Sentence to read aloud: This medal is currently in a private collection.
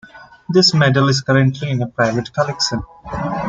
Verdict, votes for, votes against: accepted, 2, 0